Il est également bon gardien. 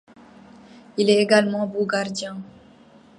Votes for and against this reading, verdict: 2, 1, accepted